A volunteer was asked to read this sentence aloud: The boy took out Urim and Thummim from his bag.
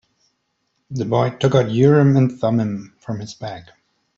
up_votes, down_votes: 3, 0